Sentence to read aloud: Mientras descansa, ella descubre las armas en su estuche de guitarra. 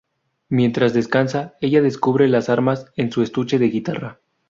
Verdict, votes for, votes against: rejected, 0, 2